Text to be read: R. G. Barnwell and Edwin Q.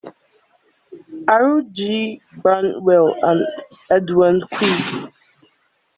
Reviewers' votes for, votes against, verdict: 1, 2, rejected